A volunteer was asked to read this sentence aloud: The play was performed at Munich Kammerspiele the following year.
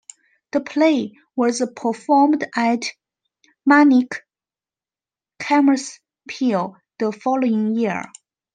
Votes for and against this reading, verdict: 0, 2, rejected